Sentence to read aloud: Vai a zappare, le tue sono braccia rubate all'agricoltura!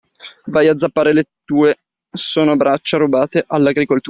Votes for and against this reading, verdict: 0, 2, rejected